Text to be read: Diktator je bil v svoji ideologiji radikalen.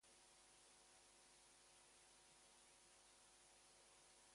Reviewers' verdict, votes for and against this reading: rejected, 0, 2